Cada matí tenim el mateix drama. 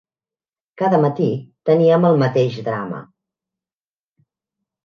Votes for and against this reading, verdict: 0, 2, rejected